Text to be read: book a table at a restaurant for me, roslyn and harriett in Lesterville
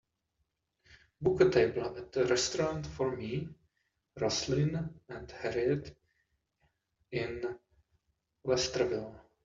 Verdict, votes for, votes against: rejected, 0, 2